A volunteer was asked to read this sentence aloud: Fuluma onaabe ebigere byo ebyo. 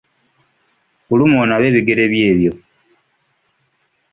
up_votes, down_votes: 2, 0